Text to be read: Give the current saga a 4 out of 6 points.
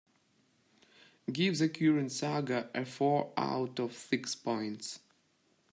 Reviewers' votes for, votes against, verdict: 0, 2, rejected